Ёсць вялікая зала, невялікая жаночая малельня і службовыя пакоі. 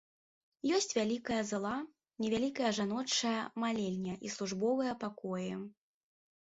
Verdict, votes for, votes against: rejected, 0, 2